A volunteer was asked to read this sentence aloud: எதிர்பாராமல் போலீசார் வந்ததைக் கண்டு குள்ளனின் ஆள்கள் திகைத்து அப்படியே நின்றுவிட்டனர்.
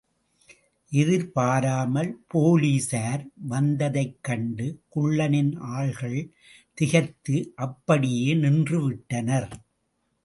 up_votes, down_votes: 2, 0